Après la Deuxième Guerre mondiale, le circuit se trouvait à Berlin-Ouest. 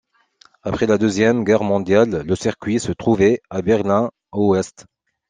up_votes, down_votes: 2, 0